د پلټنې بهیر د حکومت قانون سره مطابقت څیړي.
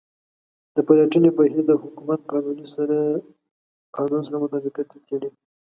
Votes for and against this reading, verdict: 2, 3, rejected